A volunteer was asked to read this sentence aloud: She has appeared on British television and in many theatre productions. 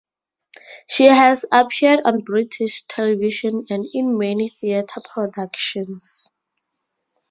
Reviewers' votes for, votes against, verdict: 0, 2, rejected